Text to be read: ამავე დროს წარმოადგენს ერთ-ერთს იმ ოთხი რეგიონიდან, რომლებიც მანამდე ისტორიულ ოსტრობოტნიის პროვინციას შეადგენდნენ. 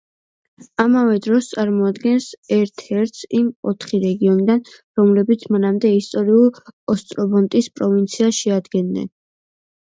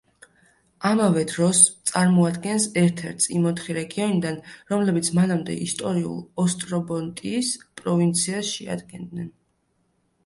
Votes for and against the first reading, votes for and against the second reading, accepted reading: 1, 2, 2, 0, second